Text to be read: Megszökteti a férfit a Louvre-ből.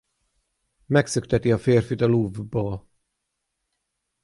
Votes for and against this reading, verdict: 3, 6, rejected